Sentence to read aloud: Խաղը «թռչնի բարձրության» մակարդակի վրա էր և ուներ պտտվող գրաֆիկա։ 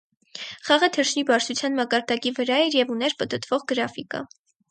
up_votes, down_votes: 4, 0